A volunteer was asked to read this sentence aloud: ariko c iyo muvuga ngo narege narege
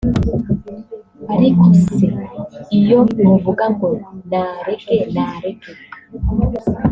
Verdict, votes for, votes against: rejected, 0, 2